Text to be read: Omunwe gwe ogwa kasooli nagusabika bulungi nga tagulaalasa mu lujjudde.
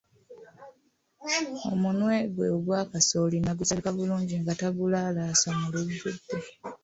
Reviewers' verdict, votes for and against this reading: rejected, 1, 2